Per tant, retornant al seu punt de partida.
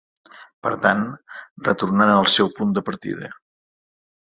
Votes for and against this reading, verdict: 3, 0, accepted